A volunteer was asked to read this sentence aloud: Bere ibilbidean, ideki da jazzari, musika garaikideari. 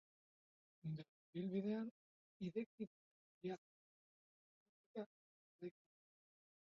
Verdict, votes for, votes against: rejected, 0, 4